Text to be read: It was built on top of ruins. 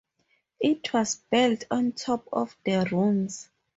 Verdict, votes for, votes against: rejected, 0, 4